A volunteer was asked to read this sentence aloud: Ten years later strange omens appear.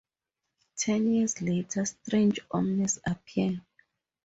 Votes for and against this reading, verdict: 4, 0, accepted